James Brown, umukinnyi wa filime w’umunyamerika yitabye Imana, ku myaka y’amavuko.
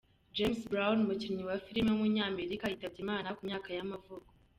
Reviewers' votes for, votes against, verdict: 2, 3, rejected